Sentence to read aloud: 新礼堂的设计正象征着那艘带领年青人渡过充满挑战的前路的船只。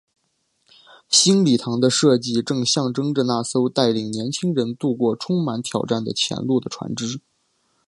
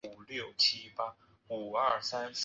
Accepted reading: first